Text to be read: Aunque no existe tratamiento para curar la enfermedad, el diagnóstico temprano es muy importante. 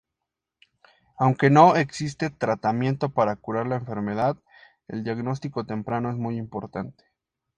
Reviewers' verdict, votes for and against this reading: accepted, 2, 0